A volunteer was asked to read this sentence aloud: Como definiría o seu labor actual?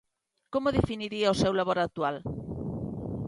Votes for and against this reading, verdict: 2, 0, accepted